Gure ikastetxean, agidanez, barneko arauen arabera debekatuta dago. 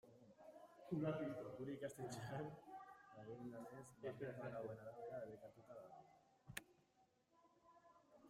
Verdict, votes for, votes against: rejected, 0, 2